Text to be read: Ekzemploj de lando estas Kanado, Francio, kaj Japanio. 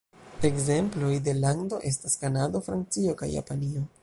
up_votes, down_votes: 3, 1